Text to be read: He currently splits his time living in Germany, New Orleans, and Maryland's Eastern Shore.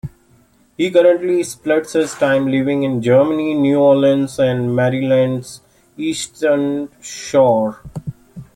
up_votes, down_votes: 2, 0